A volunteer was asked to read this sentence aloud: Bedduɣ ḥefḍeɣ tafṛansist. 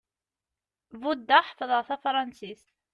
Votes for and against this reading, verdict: 1, 2, rejected